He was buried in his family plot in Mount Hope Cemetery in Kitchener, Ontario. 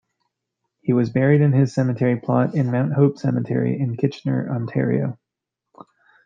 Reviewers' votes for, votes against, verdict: 1, 2, rejected